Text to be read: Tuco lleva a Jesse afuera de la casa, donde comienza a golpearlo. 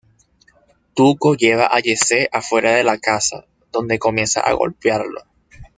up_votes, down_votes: 2, 0